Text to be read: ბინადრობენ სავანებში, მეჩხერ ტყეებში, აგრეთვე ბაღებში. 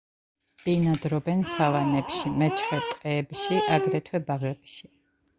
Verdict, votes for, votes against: rejected, 1, 2